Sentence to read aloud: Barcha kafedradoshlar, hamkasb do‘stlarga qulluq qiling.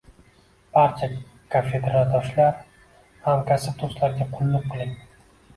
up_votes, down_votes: 0, 2